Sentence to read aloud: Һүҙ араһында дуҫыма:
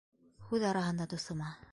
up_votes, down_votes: 3, 0